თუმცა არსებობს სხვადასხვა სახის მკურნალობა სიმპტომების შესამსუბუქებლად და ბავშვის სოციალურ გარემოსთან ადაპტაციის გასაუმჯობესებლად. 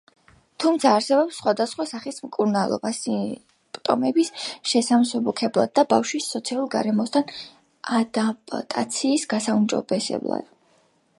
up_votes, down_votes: 1, 2